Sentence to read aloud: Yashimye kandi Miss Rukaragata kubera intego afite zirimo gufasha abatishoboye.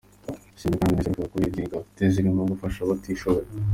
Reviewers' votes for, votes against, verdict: 0, 2, rejected